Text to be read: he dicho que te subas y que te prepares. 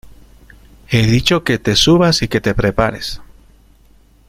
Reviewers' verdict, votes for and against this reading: accepted, 2, 0